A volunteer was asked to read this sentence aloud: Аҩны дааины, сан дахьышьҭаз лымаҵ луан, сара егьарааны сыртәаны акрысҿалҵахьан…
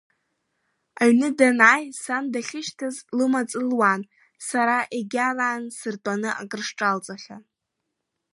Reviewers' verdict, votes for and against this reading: rejected, 1, 2